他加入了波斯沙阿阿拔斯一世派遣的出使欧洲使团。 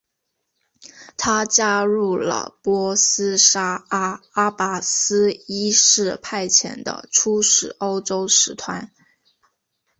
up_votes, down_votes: 4, 1